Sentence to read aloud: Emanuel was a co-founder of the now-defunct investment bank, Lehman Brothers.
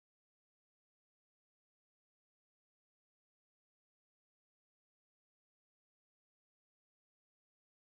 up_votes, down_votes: 0, 2